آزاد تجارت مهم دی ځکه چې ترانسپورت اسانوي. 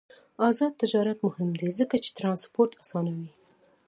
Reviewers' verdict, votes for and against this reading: accepted, 2, 0